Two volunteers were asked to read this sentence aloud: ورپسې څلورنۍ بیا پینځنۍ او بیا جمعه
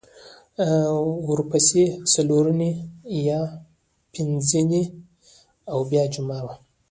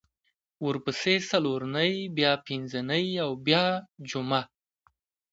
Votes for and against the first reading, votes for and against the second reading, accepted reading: 0, 2, 2, 0, second